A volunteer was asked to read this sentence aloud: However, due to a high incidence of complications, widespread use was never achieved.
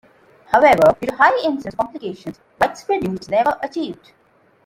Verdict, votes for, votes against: rejected, 1, 2